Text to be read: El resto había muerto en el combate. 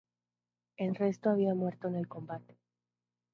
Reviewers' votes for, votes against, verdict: 0, 2, rejected